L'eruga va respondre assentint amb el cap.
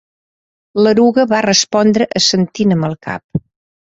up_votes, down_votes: 2, 0